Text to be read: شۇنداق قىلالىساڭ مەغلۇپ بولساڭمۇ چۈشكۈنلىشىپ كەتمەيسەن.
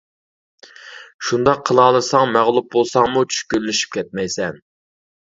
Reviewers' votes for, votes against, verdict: 2, 0, accepted